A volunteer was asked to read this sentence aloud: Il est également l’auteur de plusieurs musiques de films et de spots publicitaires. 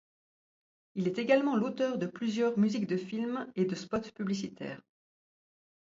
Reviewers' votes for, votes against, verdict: 2, 0, accepted